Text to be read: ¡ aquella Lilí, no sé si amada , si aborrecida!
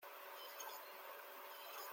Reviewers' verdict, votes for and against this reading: rejected, 0, 2